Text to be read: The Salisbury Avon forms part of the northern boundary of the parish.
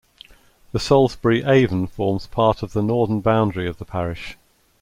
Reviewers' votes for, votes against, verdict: 2, 0, accepted